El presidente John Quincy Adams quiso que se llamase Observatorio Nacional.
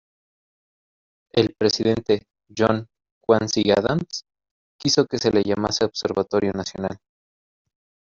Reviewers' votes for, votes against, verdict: 1, 2, rejected